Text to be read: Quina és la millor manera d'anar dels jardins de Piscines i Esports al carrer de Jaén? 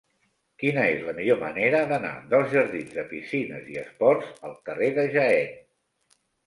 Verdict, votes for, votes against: accepted, 3, 1